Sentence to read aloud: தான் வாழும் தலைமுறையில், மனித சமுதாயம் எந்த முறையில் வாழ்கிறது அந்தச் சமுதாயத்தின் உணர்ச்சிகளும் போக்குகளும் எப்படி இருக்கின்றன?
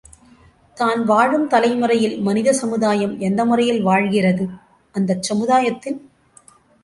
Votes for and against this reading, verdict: 0, 2, rejected